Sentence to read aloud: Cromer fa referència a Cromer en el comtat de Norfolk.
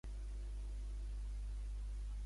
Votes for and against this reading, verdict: 0, 2, rejected